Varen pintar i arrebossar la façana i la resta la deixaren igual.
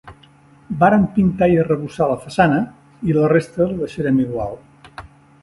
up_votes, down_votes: 1, 2